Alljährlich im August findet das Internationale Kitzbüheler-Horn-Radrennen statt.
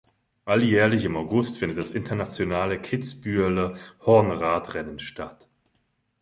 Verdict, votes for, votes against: rejected, 1, 2